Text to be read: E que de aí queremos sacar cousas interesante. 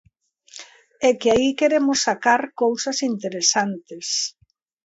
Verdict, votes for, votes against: rejected, 0, 2